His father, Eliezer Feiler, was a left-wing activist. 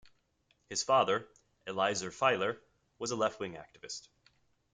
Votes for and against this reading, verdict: 2, 0, accepted